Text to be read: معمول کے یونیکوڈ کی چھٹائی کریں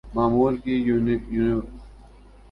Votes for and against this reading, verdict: 2, 1, accepted